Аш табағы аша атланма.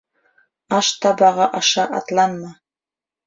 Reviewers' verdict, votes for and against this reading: accepted, 2, 0